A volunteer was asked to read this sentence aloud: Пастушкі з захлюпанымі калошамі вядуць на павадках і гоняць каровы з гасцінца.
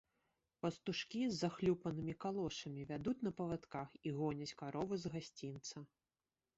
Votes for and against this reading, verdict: 1, 2, rejected